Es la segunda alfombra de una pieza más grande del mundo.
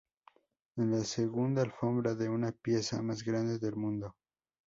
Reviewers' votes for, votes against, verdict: 2, 0, accepted